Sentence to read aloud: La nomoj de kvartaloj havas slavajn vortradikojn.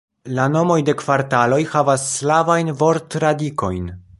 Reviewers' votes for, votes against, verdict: 1, 2, rejected